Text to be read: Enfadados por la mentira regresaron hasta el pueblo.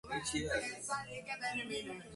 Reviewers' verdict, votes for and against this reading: rejected, 0, 2